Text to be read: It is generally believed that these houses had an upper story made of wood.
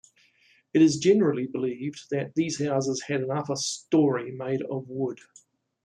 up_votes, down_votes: 2, 0